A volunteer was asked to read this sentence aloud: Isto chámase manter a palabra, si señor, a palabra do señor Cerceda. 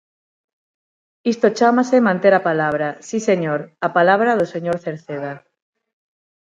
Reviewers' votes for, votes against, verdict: 9, 0, accepted